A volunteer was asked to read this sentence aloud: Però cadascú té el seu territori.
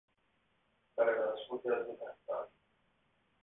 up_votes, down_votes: 0, 2